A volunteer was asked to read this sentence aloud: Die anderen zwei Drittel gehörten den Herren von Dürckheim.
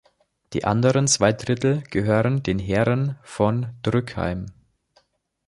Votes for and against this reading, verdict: 0, 2, rejected